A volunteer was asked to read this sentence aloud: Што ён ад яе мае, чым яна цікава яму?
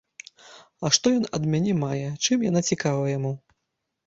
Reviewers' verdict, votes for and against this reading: rejected, 0, 2